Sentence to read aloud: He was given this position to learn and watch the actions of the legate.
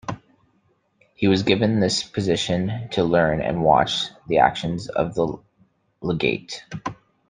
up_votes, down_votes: 2, 0